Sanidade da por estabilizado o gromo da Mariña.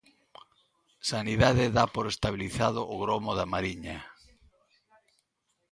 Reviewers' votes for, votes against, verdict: 2, 0, accepted